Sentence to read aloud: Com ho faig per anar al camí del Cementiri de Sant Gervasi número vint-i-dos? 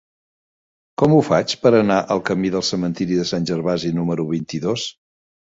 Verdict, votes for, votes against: accepted, 3, 0